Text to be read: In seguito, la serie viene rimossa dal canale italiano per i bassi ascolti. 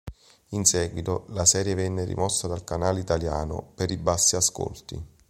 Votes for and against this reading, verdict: 0, 2, rejected